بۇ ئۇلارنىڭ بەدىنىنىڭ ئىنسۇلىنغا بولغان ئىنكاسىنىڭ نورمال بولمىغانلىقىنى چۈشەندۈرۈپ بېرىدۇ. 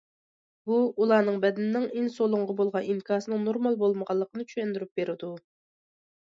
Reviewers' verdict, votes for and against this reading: accepted, 2, 0